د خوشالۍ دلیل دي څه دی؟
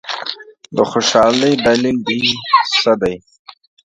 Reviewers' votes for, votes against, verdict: 1, 2, rejected